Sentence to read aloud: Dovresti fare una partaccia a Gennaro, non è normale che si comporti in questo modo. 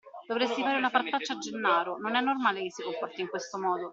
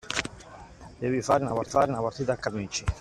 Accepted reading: first